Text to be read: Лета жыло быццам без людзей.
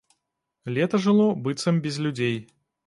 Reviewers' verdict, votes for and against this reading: accepted, 2, 0